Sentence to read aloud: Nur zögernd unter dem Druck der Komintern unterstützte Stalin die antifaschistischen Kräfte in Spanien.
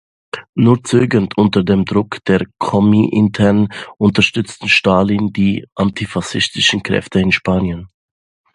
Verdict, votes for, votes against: rejected, 0, 2